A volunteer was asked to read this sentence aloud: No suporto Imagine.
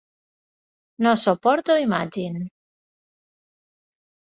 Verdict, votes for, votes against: accepted, 18, 6